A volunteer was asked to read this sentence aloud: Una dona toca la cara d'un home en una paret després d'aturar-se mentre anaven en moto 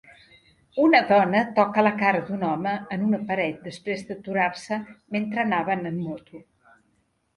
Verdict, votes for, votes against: accepted, 2, 0